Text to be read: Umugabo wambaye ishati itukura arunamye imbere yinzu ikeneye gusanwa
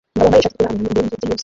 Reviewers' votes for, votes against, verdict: 0, 2, rejected